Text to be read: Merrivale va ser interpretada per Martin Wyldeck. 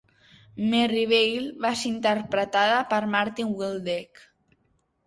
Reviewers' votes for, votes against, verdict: 2, 0, accepted